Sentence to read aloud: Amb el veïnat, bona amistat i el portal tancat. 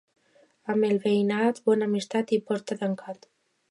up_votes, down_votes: 0, 2